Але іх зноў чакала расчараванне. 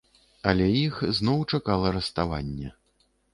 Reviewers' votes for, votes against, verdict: 1, 2, rejected